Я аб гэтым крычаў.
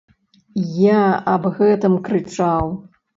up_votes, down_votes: 2, 0